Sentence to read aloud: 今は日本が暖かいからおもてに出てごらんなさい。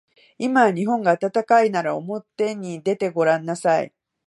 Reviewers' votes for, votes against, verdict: 0, 2, rejected